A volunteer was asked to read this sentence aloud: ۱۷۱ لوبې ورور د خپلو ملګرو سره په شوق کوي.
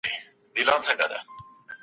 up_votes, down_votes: 0, 2